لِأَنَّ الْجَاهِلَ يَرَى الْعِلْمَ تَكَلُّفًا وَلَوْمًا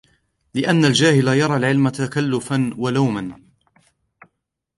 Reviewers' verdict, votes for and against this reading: accepted, 2, 0